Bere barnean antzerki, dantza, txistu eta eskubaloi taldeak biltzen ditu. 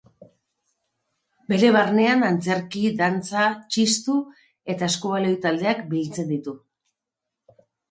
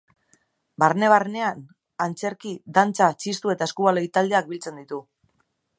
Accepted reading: first